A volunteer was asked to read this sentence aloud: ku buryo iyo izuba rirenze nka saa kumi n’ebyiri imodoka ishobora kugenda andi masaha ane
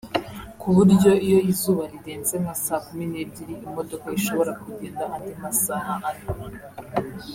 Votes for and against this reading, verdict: 2, 0, accepted